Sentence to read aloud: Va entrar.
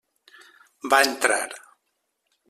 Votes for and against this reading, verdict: 3, 0, accepted